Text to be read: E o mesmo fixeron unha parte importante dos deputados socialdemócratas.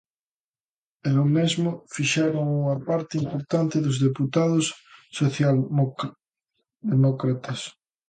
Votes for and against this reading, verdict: 0, 2, rejected